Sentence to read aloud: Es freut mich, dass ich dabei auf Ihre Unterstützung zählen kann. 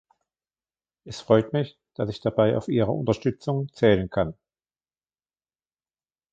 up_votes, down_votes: 2, 0